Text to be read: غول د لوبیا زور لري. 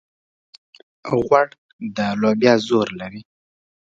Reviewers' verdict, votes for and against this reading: accepted, 2, 0